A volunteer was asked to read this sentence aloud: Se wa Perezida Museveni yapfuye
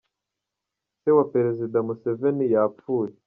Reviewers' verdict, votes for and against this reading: accepted, 2, 0